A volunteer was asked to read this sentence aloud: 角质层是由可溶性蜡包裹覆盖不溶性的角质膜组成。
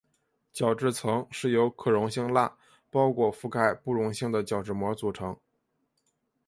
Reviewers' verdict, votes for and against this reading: accepted, 2, 0